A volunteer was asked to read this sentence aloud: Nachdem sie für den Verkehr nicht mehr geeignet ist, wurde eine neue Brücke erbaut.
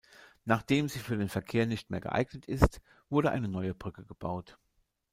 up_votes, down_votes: 1, 2